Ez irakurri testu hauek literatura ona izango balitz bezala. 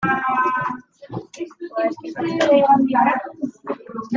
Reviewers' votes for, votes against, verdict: 0, 2, rejected